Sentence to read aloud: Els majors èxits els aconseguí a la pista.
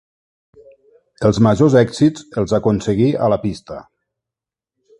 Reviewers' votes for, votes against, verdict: 2, 0, accepted